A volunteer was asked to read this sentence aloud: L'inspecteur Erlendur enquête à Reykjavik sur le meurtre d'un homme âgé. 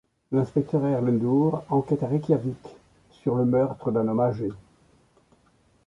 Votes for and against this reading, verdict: 1, 2, rejected